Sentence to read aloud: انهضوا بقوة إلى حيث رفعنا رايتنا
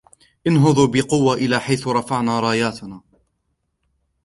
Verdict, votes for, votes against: rejected, 1, 2